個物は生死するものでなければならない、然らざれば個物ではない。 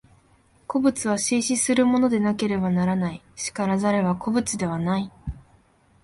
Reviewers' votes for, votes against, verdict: 2, 1, accepted